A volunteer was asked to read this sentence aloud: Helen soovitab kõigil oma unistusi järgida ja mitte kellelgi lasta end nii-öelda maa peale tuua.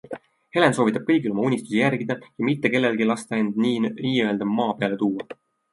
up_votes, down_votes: 2, 0